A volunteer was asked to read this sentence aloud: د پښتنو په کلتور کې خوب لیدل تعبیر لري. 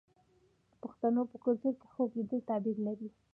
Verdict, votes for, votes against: accepted, 2, 0